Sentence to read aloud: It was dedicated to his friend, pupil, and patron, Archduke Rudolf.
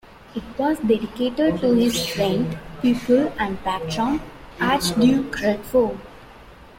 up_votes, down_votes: 0, 2